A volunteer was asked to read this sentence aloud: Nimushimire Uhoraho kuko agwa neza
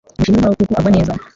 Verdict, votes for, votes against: rejected, 0, 2